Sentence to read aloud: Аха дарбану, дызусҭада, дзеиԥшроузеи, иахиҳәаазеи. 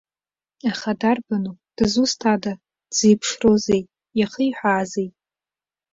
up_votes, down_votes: 2, 0